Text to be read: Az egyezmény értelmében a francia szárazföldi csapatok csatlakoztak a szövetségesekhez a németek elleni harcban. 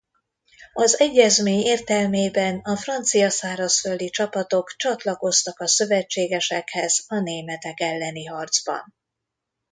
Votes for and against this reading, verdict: 2, 0, accepted